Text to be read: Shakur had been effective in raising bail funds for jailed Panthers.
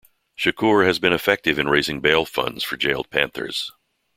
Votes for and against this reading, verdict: 2, 1, accepted